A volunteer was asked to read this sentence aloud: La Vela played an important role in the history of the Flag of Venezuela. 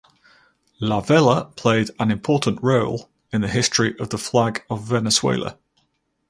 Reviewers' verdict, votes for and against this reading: accepted, 4, 0